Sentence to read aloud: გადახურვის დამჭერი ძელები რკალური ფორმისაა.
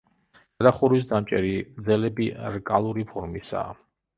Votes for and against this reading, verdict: 0, 2, rejected